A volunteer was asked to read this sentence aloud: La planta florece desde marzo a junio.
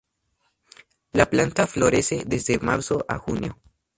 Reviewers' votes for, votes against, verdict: 4, 0, accepted